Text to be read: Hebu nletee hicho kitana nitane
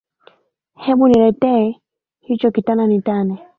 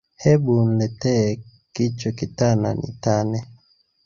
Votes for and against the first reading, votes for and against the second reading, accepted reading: 2, 0, 1, 2, first